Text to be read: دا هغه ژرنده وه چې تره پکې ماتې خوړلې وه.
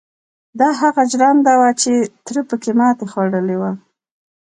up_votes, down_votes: 2, 0